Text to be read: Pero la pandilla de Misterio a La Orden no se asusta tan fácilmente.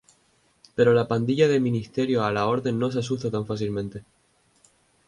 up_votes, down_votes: 2, 0